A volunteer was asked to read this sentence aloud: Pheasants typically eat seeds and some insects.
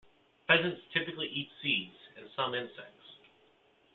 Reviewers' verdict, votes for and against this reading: accepted, 2, 1